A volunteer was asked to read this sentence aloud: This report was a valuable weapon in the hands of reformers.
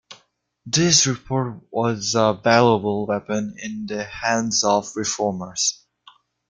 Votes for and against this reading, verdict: 2, 1, accepted